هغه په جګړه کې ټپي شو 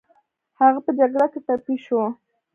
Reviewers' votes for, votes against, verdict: 0, 2, rejected